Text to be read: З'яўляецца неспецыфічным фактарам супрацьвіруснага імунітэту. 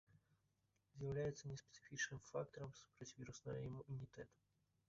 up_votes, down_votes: 0, 2